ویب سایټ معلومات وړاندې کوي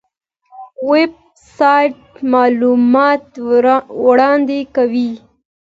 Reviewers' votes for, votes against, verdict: 2, 0, accepted